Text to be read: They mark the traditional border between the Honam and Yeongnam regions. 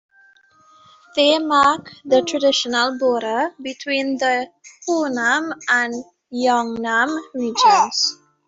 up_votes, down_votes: 1, 2